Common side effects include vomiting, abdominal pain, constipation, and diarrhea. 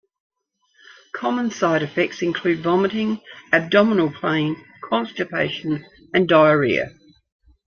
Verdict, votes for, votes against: accepted, 2, 0